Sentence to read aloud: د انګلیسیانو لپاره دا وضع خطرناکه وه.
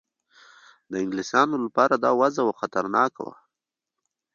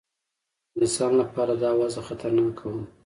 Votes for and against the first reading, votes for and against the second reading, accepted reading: 2, 1, 0, 2, first